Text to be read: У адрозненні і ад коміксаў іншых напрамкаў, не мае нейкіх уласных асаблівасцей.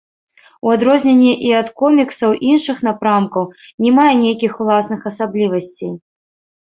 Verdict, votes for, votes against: rejected, 1, 2